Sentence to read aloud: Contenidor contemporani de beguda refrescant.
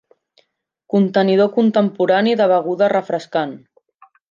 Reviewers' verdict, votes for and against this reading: accepted, 9, 0